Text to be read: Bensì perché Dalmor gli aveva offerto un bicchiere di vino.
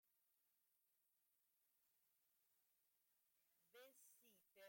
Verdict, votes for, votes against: rejected, 0, 2